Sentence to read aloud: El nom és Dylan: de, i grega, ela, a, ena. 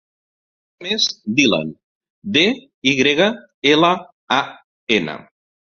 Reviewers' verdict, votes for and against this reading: rejected, 1, 2